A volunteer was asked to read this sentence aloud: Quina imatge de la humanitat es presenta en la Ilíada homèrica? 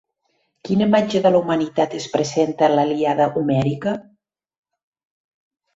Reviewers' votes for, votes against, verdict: 2, 1, accepted